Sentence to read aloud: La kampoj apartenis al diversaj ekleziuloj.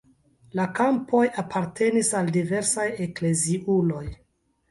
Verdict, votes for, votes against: accepted, 2, 0